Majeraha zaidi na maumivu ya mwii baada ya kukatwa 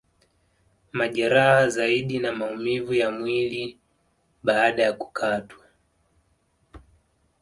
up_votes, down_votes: 4, 1